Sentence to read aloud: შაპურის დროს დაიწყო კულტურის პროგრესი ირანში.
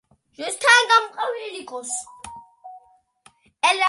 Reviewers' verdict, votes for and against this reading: rejected, 0, 2